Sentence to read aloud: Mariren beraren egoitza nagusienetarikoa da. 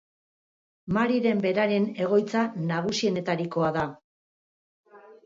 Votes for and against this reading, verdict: 0, 2, rejected